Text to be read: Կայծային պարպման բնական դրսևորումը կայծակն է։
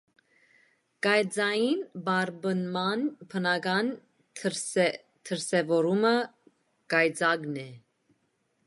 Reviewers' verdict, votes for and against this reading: rejected, 1, 2